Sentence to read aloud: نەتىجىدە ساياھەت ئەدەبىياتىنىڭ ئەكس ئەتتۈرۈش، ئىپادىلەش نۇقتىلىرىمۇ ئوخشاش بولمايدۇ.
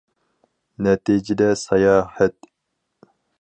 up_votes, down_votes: 0, 4